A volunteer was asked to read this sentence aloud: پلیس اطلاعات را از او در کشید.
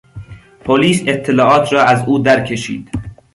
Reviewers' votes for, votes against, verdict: 2, 0, accepted